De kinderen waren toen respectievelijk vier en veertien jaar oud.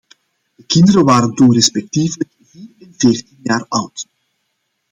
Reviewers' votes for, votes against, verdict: 0, 2, rejected